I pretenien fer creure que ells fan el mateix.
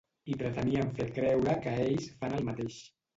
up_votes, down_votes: 1, 2